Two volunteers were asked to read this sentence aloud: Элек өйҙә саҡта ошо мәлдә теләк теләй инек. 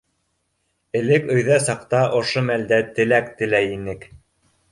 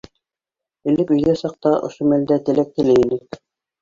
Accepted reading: first